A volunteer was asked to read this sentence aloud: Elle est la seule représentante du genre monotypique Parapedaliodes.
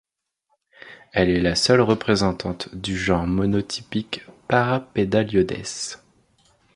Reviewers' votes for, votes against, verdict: 2, 0, accepted